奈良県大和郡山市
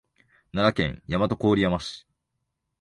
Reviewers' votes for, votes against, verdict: 3, 0, accepted